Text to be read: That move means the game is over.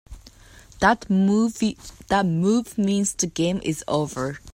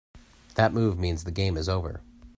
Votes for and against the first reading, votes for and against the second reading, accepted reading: 0, 2, 2, 0, second